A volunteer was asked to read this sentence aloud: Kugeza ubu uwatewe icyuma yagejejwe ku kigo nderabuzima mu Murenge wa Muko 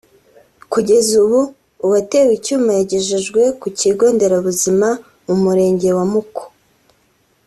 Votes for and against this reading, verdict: 2, 0, accepted